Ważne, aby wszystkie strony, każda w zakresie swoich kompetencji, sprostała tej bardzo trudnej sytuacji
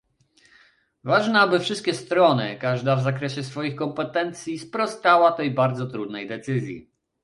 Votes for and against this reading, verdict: 1, 2, rejected